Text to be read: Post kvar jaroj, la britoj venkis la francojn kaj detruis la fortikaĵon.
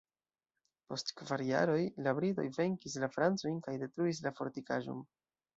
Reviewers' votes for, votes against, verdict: 1, 2, rejected